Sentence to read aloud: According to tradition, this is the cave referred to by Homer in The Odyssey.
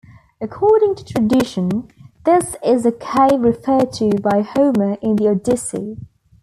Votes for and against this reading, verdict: 1, 2, rejected